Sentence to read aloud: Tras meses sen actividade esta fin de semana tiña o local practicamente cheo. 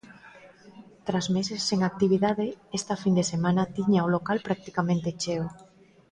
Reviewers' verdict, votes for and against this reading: accepted, 2, 1